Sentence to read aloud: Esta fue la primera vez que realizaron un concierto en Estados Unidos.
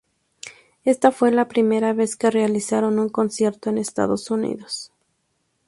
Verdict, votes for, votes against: rejected, 0, 2